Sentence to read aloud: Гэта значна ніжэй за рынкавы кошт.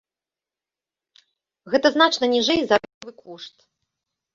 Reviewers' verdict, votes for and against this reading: rejected, 0, 2